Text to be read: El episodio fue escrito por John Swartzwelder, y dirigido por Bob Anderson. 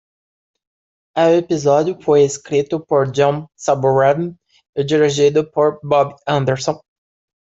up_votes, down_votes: 1, 2